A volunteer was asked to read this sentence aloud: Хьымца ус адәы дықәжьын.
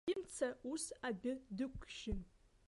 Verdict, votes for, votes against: rejected, 0, 2